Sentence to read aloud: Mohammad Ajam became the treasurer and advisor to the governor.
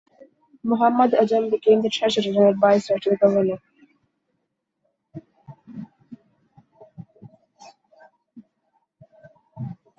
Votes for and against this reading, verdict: 1, 2, rejected